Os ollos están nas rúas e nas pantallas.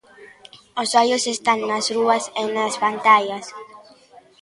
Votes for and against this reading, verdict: 2, 1, accepted